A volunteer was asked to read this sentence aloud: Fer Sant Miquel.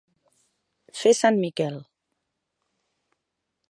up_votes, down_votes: 2, 0